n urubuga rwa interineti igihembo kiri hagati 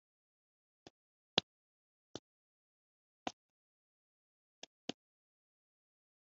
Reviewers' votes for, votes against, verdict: 1, 3, rejected